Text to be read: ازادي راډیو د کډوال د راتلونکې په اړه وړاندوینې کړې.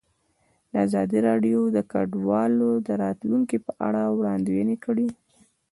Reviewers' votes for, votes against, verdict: 1, 2, rejected